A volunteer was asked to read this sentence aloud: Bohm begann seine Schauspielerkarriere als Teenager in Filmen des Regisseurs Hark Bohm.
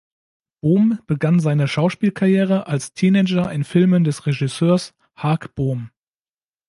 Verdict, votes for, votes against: rejected, 0, 2